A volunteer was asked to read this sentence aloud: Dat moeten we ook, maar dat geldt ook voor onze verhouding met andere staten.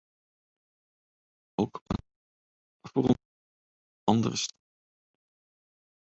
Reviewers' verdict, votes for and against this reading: rejected, 0, 2